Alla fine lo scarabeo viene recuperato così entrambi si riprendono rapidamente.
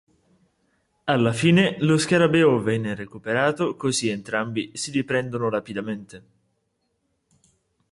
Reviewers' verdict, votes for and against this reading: rejected, 1, 2